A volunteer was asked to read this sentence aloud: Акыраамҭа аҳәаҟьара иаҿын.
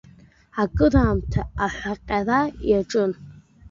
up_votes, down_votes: 1, 2